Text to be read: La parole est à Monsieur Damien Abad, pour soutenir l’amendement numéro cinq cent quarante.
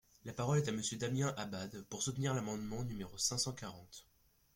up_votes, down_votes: 2, 0